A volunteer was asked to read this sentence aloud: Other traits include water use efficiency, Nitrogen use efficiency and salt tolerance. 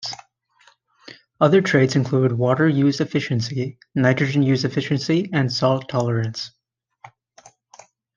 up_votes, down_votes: 2, 0